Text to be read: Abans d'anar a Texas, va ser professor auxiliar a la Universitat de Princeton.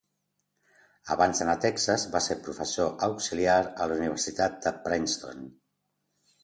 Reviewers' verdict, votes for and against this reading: accepted, 2, 0